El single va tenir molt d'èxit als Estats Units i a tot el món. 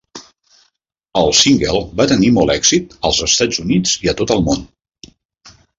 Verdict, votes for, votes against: rejected, 0, 2